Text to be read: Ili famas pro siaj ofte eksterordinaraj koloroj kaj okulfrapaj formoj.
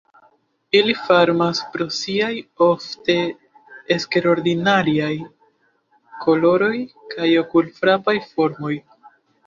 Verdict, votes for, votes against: rejected, 0, 2